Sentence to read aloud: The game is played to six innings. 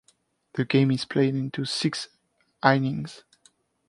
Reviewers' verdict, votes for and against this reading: rejected, 0, 2